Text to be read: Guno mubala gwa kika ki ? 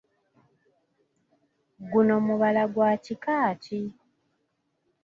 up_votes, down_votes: 2, 0